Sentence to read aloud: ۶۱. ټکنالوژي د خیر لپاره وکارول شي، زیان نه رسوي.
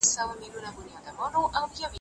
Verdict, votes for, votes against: rejected, 0, 2